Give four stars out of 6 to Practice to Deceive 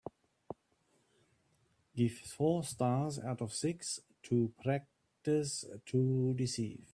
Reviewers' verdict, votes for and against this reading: rejected, 0, 2